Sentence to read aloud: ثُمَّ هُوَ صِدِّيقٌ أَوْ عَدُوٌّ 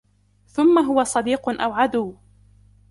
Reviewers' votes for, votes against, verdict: 2, 0, accepted